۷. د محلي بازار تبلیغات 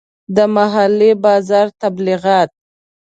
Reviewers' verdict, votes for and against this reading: rejected, 0, 2